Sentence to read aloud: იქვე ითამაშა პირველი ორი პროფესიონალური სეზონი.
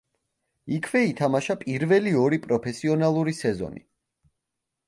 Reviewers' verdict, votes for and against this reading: accepted, 2, 0